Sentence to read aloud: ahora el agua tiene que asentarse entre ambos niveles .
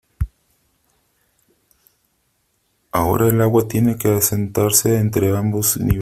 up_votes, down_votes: 1, 2